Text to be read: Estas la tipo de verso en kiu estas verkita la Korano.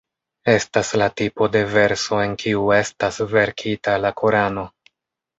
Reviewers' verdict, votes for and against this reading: rejected, 1, 2